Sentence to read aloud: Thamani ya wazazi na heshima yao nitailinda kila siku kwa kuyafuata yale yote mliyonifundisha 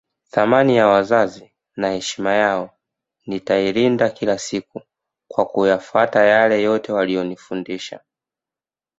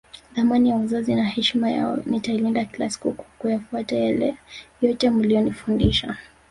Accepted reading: first